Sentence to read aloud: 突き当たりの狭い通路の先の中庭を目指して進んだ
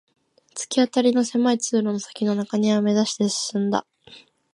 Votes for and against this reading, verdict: 2, 0, accepted